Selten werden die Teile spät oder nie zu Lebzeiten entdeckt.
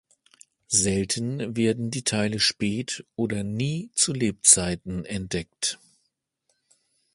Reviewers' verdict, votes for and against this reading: accepted, 2, 0